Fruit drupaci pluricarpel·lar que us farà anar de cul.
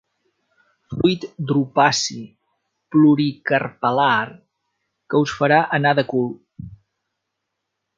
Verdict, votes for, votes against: accepted, 2, 0